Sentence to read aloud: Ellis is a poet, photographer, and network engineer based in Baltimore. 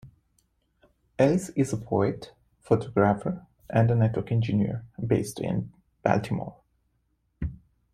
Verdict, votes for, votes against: rejected, 0, 2